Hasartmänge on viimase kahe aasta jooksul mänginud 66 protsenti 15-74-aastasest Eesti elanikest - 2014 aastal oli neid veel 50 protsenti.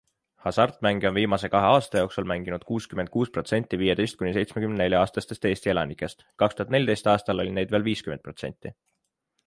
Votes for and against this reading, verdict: 0, 2, rejected